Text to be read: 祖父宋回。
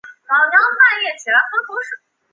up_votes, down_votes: 0, 4